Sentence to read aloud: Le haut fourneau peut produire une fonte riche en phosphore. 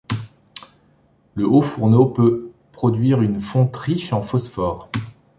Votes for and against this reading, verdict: 2, 0, accepted